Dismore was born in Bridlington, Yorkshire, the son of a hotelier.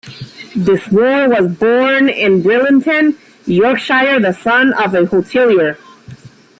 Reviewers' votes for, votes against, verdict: 1, 2, rejected